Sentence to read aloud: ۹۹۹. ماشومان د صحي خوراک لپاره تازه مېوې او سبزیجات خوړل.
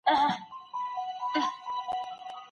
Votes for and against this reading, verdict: 0, 2, rejected